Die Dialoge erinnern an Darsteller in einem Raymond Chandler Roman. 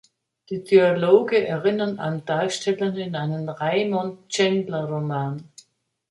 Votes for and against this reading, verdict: 2, 1, accepted